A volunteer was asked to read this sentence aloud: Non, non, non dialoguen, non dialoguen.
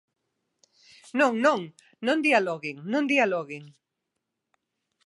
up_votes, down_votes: 2, 0